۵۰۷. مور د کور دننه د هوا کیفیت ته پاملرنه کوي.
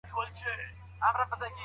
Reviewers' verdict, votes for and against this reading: rejected, 0, 2